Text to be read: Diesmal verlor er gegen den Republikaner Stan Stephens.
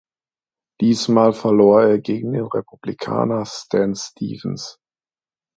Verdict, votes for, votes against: accepted, 2, 0